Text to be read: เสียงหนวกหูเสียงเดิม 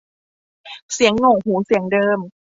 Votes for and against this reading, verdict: 2, 0, accepted